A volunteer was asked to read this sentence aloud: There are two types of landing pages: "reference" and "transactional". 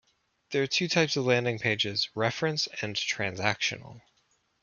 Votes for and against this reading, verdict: 1, 2, rejected